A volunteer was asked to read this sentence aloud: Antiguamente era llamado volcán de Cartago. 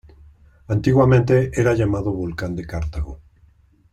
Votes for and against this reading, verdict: 2, 0, accepted